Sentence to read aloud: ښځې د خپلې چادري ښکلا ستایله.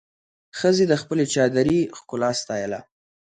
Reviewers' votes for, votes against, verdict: 2, 0, accepted